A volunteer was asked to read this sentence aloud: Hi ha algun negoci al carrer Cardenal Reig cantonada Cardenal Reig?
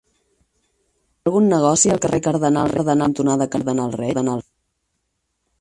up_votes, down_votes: 0, 6